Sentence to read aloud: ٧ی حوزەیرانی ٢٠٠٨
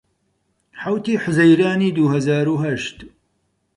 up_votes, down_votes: 0, 2